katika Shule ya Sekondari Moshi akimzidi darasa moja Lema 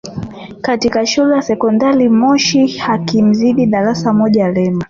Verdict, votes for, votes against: accepted, 2, 0